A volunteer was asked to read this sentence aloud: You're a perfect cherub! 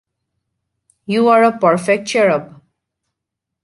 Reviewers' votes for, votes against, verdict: 1, 2, rejected